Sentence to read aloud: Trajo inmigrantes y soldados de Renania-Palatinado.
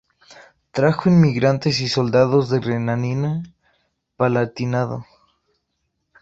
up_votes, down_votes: 0, 2